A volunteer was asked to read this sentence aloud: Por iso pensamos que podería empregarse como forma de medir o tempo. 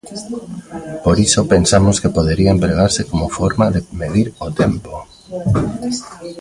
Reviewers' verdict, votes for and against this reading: rejected, 1, 2